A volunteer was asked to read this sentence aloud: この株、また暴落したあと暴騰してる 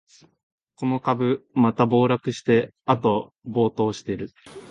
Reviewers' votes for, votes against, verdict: 3, 5, rejected